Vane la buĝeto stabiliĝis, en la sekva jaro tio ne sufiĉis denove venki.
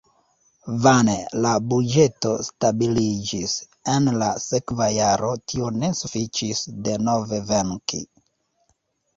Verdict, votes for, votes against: rejected, 0, 2